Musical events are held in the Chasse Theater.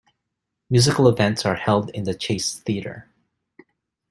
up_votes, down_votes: 2, 0